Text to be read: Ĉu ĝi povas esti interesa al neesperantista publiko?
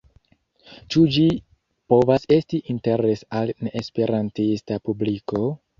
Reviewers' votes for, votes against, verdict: 0, 2, rejected